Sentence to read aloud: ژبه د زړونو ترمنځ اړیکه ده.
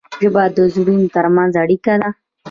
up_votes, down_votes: 2, 1